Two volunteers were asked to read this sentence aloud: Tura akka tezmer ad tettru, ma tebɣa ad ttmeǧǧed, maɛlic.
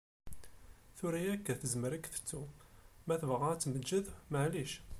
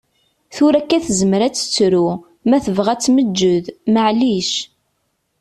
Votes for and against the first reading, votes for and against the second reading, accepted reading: 0, 2, 2, 0, second